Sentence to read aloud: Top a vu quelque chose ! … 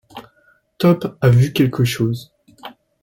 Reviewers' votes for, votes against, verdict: 2, 0, accepted